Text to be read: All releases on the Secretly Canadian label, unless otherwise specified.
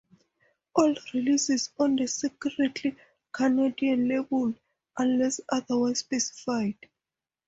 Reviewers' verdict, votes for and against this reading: accepted, 2, 0